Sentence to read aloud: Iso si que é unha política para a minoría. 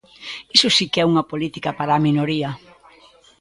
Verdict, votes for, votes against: accepted, 2, 0